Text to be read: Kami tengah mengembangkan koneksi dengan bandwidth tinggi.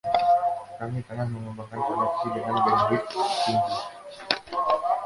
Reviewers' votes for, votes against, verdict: 0, 2, rejected